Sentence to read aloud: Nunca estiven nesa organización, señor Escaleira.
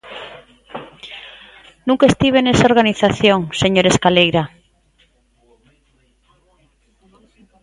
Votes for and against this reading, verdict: 2, 0, accepted